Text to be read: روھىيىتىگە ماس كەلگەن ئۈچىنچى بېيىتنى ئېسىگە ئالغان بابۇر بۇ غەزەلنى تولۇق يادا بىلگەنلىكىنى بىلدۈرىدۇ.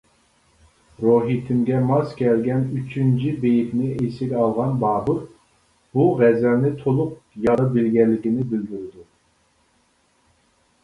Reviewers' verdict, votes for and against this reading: rejected, 0, 2